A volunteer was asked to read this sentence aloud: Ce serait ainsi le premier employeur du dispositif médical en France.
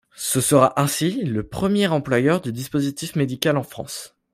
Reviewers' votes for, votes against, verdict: 0, 2, rejected